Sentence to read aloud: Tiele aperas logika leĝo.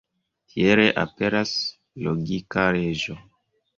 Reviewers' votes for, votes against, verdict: 1, 2, rejected